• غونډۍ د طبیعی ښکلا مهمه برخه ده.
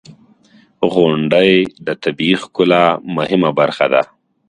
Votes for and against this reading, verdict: 2, 0, accepted